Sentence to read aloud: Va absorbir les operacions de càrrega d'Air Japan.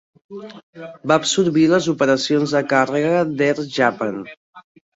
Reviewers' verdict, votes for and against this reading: accepted, 2, 0